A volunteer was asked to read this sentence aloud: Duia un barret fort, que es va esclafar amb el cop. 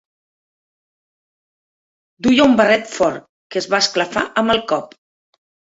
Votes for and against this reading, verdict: 3, 0, accepted